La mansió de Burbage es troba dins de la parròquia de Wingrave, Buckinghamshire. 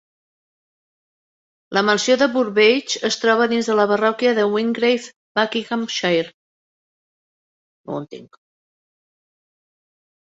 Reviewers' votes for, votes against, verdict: 1, 3, rejected